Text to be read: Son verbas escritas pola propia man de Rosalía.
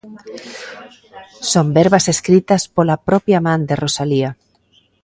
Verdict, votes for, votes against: rejected, 1, 2